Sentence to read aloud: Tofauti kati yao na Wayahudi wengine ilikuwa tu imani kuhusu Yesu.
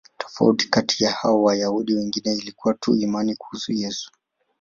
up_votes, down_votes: 2, 0